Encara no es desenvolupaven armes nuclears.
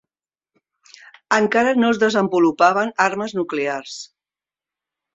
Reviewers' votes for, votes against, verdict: 2, 0, accepted